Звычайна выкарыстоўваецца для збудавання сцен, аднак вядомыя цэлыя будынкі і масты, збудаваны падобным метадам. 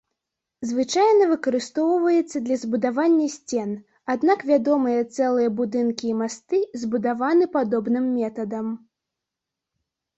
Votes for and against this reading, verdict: 2, 0, accepted